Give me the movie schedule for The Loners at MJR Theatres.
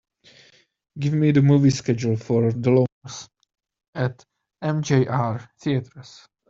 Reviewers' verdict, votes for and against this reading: accepted, 3, 1